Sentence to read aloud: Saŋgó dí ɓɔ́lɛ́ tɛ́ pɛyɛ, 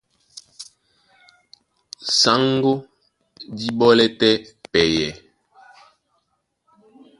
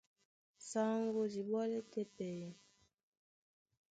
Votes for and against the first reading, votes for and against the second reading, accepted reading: 1, 2, 2, 0, second